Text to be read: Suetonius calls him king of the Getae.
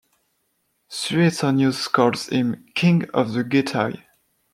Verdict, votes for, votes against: accepted, 2, 0